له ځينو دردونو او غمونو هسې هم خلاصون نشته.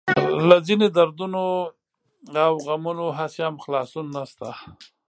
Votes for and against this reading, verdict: 1, 2, rejected